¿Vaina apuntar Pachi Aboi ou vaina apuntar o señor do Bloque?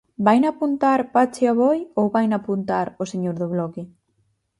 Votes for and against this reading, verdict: 4, 0, accepted